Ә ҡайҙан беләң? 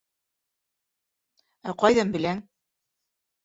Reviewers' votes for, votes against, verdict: 1, 2, rejected